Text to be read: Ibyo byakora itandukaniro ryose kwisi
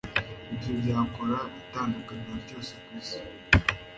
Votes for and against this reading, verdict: 2, 0, accepted